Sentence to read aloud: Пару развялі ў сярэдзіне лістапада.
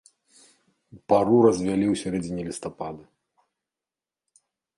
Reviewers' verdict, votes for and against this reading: rejected, 1, 2